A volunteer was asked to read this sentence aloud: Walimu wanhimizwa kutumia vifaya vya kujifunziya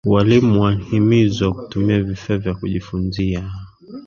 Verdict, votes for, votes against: accepted, 2, 1